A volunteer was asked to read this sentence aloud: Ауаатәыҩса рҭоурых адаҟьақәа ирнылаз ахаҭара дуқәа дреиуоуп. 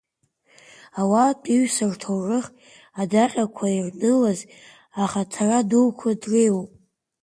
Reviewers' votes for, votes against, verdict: 2, 1, accepted